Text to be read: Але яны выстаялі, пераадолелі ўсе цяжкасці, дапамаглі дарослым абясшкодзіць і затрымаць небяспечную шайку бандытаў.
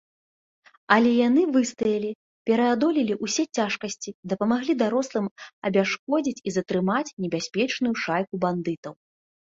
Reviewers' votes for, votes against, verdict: 2, 0, accepted